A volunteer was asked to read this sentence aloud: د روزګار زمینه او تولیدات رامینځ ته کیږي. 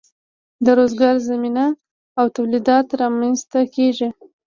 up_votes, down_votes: 2, 0